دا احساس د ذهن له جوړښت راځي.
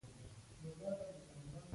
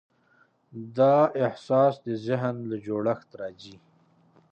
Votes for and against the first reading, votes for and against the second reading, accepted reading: 0, 2, 6, 1, second